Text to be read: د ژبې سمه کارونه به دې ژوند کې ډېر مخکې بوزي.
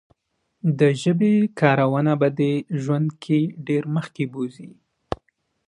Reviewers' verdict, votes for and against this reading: accepted, 2, 1